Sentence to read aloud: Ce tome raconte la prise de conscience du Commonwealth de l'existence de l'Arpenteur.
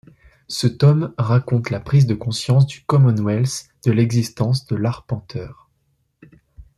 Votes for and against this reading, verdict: 2, 0, accepted